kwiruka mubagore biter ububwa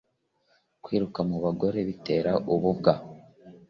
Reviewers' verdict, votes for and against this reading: accepted, 2, 0